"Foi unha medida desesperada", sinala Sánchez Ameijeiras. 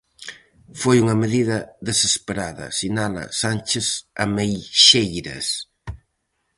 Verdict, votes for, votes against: rejected, 0, 4